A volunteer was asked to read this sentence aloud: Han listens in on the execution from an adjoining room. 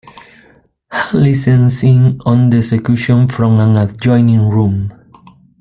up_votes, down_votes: 1, 2